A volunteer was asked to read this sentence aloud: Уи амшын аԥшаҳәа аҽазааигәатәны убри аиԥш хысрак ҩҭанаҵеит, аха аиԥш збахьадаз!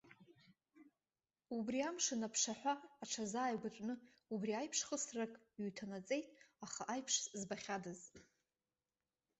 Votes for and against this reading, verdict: 0, 3, rejected